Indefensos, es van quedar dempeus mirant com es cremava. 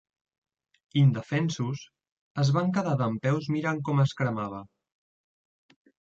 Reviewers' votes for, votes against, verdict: 3, 0, accepted